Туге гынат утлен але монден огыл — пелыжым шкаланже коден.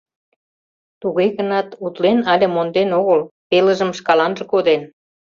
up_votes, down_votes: 2, 0